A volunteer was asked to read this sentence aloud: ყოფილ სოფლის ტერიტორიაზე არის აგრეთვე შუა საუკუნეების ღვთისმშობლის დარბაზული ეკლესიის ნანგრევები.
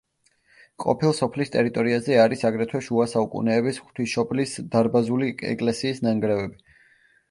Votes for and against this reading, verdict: 0, 2, rejected